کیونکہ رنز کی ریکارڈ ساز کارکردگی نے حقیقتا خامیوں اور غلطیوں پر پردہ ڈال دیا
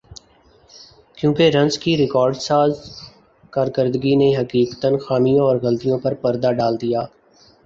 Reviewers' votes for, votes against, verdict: 2, 0, accepted